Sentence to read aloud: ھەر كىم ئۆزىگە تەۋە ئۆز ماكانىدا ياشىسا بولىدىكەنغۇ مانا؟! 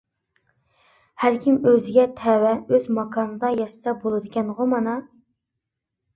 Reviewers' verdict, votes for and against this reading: accepted, 2, 0